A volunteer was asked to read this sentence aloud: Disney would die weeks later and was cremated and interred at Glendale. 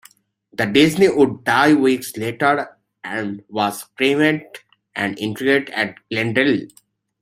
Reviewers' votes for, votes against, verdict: 1, 2, rejected